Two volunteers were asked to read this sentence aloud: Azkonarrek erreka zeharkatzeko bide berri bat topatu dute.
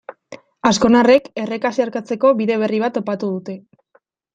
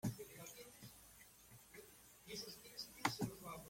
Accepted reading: first